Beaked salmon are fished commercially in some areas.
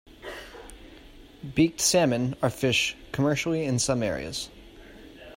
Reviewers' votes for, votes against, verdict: 2, 0, accepted